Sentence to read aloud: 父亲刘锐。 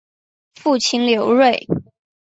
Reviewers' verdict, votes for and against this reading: accepted, 3, 0